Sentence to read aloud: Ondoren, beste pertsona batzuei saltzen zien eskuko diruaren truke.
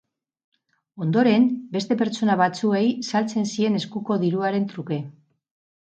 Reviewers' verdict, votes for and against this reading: accepted, 4, 2